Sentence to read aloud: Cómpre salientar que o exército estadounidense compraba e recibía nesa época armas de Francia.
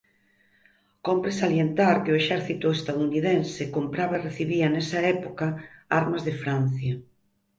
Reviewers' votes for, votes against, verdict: 4, 0, accepted